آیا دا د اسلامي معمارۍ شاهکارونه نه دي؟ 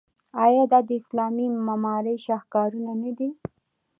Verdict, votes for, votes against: accepted, 2, 0